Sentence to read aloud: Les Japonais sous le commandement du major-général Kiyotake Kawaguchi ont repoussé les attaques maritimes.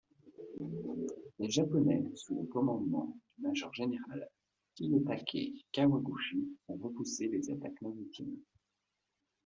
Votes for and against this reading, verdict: 2, 0, accepted